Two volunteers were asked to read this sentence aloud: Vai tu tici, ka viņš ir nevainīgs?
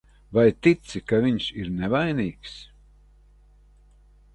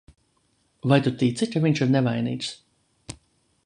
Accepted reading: second